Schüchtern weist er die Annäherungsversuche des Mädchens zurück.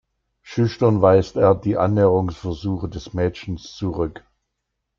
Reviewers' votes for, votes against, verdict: 2, 0, accepted